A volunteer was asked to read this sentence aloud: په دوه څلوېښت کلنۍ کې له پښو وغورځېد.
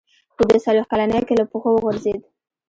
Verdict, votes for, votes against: accepted, 2, 0